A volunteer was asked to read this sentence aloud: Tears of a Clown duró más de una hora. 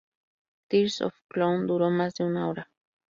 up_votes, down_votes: 2, 0